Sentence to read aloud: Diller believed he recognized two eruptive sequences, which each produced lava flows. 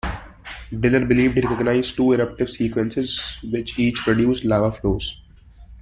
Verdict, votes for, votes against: rejected, 1, 2